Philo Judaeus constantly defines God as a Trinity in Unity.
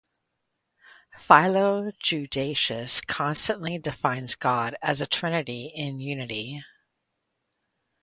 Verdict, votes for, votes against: accepted, 2, 0